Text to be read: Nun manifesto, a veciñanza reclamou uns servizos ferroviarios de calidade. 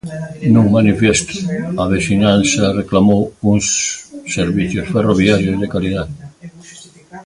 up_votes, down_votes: 1, 2